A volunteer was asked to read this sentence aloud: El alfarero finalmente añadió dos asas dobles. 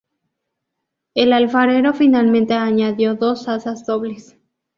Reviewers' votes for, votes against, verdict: 0, 2, rejected